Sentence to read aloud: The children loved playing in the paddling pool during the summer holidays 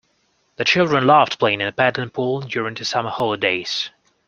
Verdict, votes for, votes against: accepted, 2, 0